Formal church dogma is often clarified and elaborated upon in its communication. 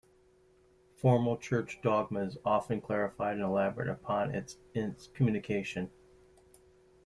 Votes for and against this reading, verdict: 1, 2, rejected